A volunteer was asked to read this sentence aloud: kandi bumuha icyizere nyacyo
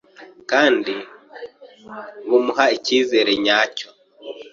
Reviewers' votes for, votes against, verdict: 2, 0, accepted